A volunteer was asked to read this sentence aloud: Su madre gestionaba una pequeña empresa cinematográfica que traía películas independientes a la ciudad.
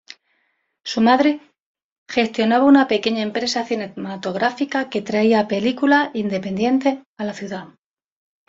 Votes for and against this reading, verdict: 1, 2, rejected